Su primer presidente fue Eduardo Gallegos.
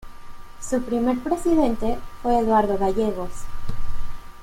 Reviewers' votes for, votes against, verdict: 2, 0, accepted